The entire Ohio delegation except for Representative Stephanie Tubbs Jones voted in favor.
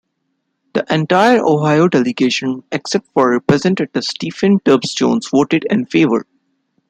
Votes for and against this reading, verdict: 1, 2, rejected